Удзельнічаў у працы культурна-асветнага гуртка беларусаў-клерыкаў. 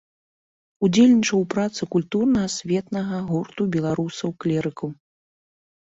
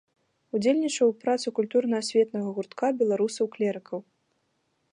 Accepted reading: second